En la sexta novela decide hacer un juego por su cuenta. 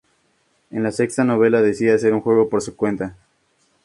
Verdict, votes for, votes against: accepted, 2, 0